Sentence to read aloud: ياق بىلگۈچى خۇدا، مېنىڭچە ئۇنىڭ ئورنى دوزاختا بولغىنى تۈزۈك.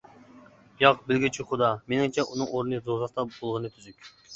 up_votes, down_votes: 1, 2